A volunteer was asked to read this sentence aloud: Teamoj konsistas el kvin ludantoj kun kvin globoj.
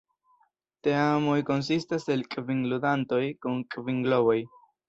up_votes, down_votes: 1, 2